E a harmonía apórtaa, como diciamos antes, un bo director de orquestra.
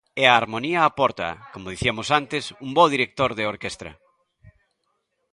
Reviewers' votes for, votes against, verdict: 0, 2, rejected